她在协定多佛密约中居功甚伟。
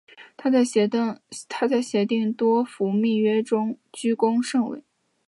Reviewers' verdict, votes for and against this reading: accepted, 2, 1